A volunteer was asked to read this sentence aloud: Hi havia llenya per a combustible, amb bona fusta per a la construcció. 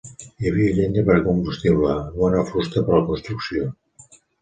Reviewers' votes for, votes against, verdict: 1, 3, rejected